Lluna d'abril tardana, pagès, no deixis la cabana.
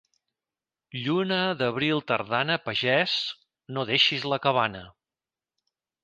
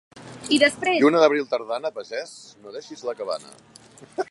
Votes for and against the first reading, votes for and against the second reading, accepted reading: 2, 0, 0, 2, first